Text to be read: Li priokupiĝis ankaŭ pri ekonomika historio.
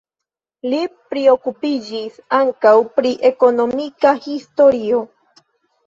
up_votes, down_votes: 2, 0